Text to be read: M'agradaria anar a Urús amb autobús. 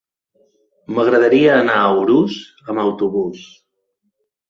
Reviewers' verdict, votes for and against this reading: accepted, 3, 0